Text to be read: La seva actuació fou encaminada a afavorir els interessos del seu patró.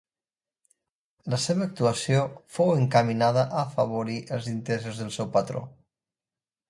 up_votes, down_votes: 2, 0